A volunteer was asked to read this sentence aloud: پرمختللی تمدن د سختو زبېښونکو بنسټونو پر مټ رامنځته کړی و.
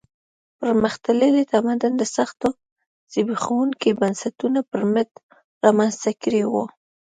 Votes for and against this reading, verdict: 1, 2, rejected